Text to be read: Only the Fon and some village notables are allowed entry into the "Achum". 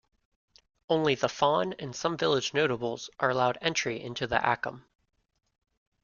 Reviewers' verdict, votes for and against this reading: accepted, 2, 0